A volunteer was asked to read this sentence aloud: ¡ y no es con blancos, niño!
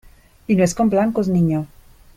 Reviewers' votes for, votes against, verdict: 2, 0, accepted